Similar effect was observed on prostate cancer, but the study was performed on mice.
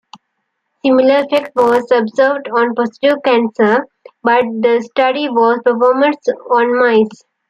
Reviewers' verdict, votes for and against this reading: rejected, 0, 2